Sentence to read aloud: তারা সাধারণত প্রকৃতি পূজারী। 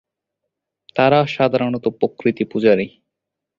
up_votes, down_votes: 0, 2